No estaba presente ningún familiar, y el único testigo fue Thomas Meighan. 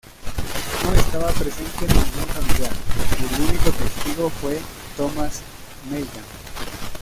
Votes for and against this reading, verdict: 1, 2, rejected